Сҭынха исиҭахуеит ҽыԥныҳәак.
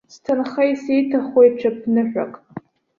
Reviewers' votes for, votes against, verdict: 2, 0, accepted